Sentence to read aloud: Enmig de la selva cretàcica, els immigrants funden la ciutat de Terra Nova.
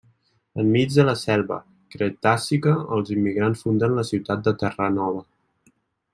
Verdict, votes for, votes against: accepted, 2, 0